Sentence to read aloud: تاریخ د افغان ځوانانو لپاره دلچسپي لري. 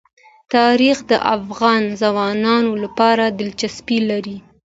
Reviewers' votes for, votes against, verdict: 2, 0, accepted